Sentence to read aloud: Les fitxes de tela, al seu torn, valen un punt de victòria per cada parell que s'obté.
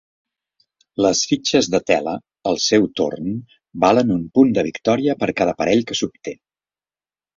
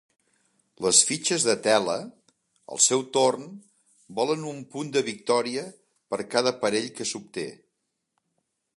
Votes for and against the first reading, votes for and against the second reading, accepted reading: 3, 0, 0, 2, first